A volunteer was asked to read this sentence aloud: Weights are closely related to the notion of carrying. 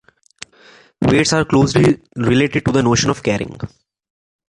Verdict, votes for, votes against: rejected, 1, 2